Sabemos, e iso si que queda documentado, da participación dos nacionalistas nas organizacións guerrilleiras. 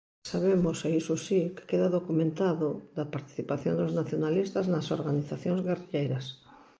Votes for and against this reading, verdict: 2, 0, accepted